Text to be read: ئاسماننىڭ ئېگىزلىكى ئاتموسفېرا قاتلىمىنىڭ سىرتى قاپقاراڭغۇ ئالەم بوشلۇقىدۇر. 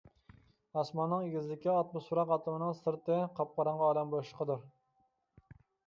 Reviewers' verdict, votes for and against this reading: accepted, 2, 0